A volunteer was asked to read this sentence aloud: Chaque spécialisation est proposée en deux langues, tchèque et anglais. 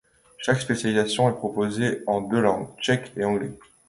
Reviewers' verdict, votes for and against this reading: accepted, 2, 0